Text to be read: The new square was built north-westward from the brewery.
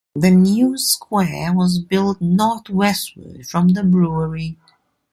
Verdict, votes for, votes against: rejected, 1, 2